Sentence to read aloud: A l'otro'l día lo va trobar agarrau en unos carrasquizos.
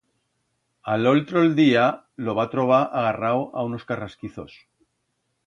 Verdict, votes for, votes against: rejected, 1, 2